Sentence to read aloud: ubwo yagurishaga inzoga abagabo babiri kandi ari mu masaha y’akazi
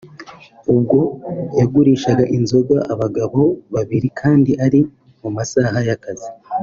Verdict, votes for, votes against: accepted, 2, 0